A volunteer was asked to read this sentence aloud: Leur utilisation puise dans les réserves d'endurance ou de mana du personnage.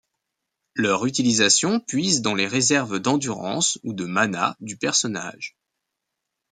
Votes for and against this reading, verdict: 2, 0, accepted